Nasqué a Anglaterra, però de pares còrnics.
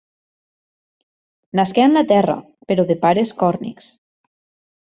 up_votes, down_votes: 2, 0